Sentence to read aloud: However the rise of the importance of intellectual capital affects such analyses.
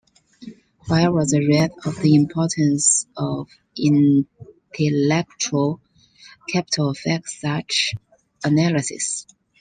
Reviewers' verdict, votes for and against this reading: rejected, 0, 2